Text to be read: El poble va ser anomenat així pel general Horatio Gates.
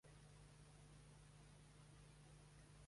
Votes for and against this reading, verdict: 1, 2, rejected